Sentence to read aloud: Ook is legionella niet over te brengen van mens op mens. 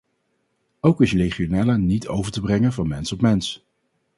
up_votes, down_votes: 2, 0